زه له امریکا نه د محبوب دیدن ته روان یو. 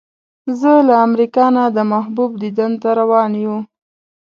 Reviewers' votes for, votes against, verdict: 2, 0, accepted